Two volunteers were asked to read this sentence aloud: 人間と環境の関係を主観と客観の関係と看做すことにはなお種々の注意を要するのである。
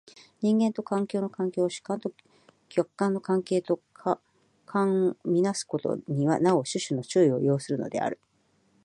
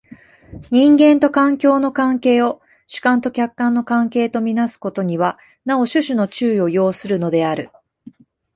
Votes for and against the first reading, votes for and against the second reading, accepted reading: 1, 2, 2, 0, second